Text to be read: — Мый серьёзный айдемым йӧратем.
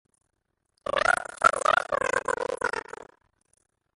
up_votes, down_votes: 0, 2